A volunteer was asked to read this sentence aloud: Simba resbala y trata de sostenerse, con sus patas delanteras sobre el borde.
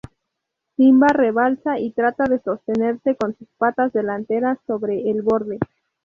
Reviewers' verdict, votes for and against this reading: rejected, 0, 2